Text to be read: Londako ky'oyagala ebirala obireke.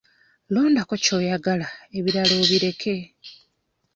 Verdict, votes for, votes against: accepted, 2, 0